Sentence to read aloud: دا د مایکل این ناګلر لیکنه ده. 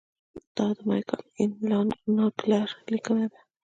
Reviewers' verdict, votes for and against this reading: accepted, 2, 1